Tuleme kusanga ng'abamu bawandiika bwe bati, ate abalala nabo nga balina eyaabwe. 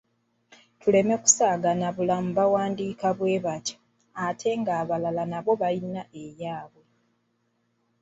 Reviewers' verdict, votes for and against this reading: rejected, 0, 2